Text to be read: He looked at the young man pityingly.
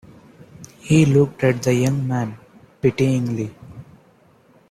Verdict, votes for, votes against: rejected, 1, 2